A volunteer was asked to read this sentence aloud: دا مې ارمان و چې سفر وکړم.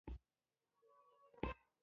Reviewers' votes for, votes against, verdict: 1, 2, rejected